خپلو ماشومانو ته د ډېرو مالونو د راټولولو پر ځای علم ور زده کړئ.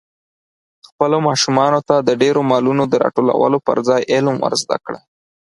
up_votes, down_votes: 4, 2